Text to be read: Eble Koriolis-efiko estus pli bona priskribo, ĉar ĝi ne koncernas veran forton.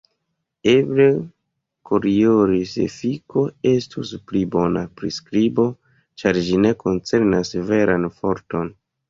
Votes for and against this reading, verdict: 2, 1, accepted